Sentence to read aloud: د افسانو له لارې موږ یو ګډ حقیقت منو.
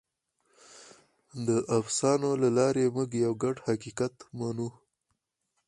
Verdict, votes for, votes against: accepted, 4, 0